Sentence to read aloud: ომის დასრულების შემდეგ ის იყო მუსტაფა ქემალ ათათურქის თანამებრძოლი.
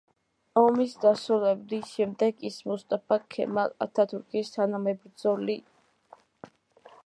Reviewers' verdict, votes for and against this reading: rejected, 0, 2